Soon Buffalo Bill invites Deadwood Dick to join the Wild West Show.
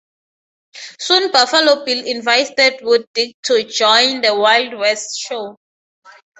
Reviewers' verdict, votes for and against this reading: accepted, 4, 0